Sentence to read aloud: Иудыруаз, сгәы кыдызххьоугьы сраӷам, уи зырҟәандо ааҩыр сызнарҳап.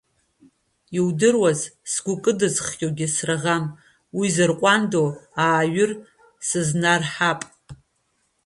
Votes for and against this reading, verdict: 2, 1, accepted